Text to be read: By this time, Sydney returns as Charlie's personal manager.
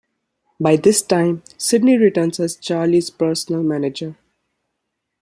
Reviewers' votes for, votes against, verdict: 2, 0, accepted